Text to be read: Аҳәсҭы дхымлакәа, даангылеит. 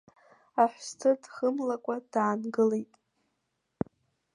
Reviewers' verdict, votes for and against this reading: accepted, 2, 0